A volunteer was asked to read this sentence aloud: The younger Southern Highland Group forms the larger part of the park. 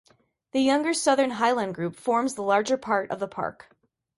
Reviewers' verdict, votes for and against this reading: accepted, 2, 0